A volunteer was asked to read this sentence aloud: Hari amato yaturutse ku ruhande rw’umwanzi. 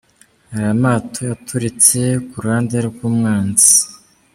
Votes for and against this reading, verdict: 1, 2, rejected